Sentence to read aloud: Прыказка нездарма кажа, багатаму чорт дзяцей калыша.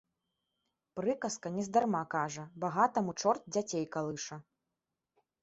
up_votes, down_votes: 2, 0